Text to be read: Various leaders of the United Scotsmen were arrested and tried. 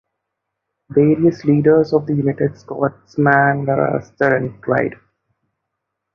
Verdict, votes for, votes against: rejected, 0, 2